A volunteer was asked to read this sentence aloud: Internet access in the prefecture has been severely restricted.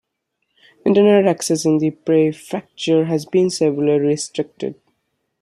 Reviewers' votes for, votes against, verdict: 2, 1, accepted